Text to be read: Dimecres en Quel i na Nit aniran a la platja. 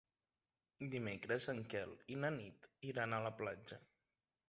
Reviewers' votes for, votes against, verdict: 1, 2, rejected